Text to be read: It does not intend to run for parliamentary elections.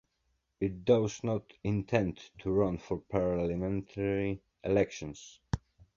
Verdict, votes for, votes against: accepted, 3, 0